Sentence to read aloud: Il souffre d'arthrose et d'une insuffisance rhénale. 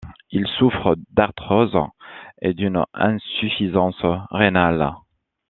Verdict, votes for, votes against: accepted, 2, 0